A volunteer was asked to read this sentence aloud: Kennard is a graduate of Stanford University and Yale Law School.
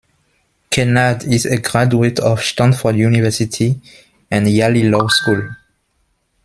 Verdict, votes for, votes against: rejected, 0, 2